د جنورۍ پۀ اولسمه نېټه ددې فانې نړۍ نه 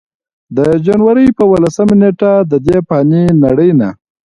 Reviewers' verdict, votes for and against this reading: accepted, 2, 0